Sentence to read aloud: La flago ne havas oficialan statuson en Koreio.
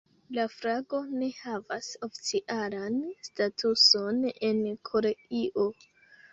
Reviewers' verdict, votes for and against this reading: rejected, 1, 3